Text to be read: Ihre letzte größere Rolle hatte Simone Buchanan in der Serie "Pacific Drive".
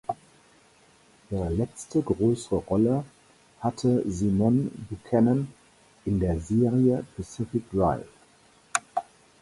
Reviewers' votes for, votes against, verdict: 0, 4, rejected